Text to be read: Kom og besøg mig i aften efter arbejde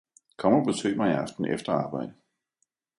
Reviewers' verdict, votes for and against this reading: accepted, 2, 0